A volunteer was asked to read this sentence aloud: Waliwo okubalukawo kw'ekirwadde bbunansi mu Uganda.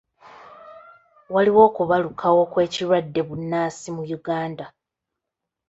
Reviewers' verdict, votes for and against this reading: accepted, 2, 0